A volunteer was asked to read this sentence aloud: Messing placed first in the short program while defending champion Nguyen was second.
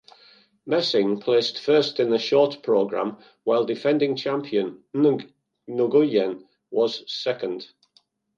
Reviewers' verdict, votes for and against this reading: rejected, 0, 2